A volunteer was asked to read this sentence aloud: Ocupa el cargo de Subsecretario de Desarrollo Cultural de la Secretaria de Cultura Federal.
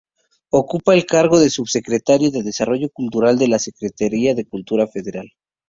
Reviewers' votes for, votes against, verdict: 2, 0, accepted